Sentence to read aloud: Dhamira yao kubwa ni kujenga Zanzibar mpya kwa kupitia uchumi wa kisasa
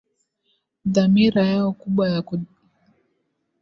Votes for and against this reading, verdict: 0, 2, rejected